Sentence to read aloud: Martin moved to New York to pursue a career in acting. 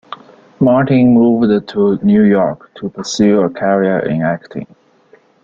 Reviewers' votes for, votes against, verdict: 0, 2, rejected